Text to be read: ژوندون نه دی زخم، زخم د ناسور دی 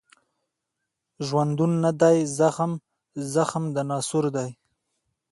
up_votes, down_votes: 2, 1